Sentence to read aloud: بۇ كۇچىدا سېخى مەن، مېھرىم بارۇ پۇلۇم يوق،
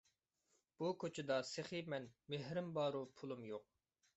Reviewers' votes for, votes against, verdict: 2, 1, accepted